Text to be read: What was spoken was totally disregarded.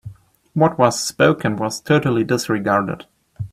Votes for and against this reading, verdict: 3, 0, accepted